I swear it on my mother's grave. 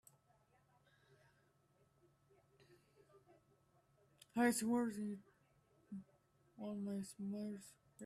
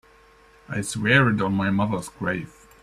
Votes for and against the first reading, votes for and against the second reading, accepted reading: 0, 2, 2, 0, second